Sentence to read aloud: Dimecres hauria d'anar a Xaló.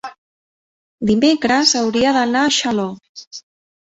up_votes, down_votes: 1, 2